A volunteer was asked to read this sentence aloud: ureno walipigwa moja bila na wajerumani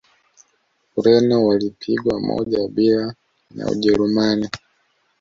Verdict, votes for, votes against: accepted, 2, 0